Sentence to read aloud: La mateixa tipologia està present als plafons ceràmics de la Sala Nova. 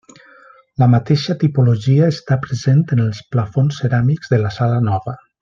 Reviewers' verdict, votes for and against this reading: rejected, 0, 2